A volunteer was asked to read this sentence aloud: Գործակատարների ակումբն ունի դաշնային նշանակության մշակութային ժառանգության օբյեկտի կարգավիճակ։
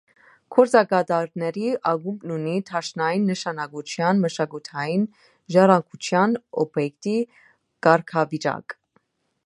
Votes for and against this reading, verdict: 2, 0, accepted